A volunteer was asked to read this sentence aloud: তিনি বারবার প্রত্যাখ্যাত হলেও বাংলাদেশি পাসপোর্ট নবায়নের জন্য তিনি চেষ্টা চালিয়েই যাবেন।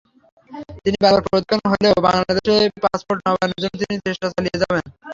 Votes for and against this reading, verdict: 0, 3, rejected